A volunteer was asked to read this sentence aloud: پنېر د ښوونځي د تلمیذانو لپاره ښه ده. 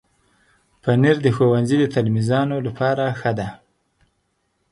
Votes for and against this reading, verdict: 6, 0, accepted